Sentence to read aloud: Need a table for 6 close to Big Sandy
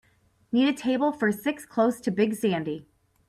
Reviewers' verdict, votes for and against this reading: rejected, 0, 2